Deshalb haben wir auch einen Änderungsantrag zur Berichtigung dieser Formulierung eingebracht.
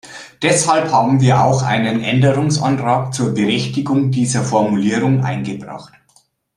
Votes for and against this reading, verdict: 2, 0, accepted